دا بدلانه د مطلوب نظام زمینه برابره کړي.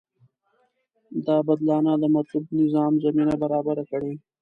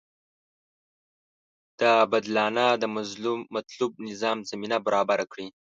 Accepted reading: first